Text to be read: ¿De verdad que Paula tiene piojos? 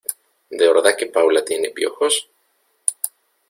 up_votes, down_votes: 2, 0